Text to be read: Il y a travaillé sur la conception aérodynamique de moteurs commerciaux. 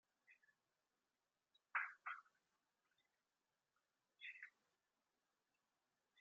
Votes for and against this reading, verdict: 0, 2, rejected